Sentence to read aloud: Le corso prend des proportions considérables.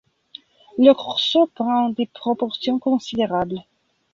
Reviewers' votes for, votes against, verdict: 2, 0, accepted